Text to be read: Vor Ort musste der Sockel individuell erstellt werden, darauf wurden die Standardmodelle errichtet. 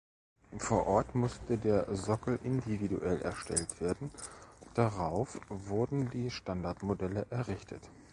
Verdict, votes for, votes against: rejected, 1, 2